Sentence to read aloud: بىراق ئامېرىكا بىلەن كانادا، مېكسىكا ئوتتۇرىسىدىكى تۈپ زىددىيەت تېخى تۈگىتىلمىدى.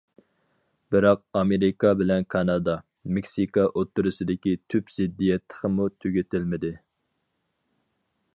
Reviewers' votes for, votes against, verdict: 0, 2, rejected